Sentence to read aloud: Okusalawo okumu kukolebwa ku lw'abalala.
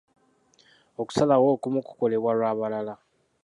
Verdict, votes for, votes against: accepted, 2, 1